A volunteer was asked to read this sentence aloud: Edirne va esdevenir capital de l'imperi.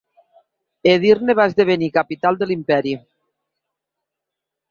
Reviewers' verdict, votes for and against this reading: accepted, 2, 0